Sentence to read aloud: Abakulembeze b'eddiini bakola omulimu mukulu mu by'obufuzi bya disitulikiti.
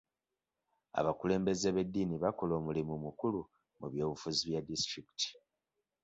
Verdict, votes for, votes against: accepted, 2, 0